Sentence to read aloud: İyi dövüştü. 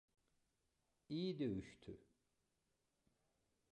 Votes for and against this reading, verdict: 0, 2, rejected